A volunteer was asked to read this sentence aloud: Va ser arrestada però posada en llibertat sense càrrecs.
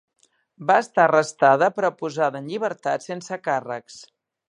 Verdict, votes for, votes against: rejected, 0, 2